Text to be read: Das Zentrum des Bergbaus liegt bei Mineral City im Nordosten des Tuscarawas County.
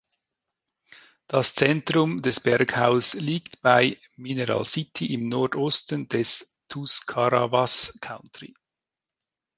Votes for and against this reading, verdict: 1, 2, rejected